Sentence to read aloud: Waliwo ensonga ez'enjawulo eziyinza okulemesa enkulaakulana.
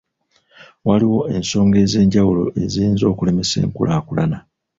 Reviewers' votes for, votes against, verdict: 2, 0, accepted